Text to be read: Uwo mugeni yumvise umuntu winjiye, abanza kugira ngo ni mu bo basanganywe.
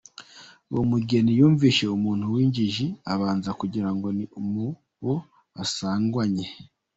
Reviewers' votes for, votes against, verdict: 1, 2, rejected